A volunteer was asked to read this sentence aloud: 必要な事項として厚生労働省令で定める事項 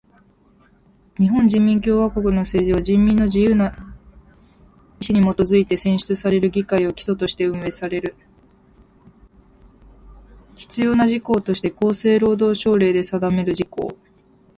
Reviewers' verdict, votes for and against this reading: rejected, 0, 2